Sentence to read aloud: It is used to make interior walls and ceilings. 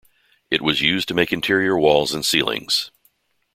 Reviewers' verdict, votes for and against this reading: rejected, 0, 2